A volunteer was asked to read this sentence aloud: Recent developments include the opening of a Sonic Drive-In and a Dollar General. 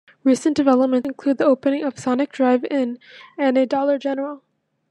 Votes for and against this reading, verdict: 1, 2, rejected